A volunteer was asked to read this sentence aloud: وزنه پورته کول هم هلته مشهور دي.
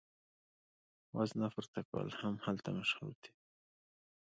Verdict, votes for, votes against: accepted, 2, 0